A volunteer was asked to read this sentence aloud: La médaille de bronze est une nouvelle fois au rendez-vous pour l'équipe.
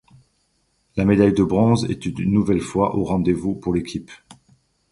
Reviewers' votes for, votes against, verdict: 2, 0, accepted